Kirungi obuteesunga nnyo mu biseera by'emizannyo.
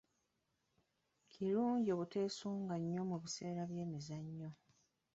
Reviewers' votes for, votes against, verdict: 1, 2, rejected